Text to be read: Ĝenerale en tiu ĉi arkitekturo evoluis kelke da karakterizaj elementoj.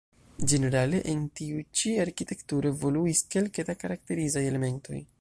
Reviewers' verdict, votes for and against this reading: rejected, 1, 2